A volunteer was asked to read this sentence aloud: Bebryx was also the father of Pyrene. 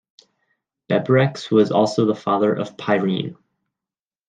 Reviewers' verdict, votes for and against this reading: accepted, 2, 0